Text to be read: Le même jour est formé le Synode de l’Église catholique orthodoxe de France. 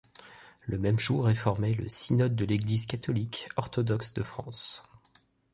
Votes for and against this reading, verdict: 2, 0, accepted